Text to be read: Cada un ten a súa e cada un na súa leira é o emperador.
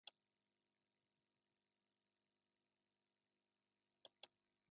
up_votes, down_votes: 1, 2